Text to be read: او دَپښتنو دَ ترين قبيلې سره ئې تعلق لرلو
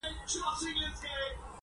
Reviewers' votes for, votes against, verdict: 2, 0, accepted